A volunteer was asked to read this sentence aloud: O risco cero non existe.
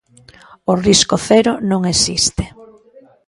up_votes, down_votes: 0, 2